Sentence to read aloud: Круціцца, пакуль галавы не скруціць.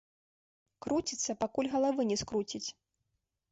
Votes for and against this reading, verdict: 2, 0, accepted